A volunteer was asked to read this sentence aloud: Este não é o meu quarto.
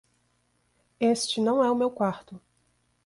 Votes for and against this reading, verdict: 2, 0, accepted